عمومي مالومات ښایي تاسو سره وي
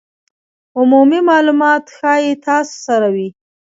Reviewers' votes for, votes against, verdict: 2, 1, accepted